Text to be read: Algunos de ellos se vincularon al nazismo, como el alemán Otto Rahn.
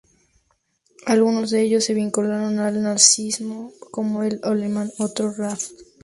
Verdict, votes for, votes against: rejected, 0, 2